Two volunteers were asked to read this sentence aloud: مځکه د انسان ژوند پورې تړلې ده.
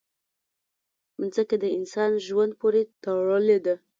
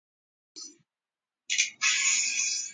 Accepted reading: first